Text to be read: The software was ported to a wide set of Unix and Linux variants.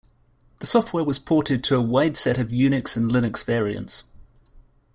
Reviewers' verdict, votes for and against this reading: accepted, 2, 0